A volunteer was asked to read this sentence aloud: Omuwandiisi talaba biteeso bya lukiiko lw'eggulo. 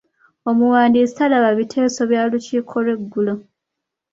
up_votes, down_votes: 3, 0